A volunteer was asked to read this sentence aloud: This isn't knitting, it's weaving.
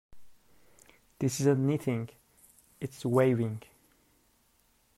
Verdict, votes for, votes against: rejected, 1, 2